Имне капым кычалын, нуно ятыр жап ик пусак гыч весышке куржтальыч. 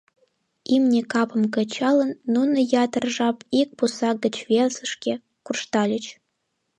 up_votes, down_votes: 2, 0